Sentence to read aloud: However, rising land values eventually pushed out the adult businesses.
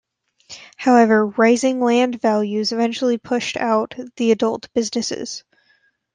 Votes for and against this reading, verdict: 2, 0, accepted